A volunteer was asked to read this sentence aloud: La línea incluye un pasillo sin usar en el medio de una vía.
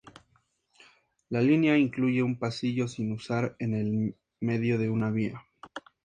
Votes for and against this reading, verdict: 4, 0, accepted